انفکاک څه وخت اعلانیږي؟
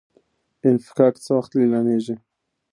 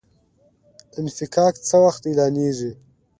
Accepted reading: second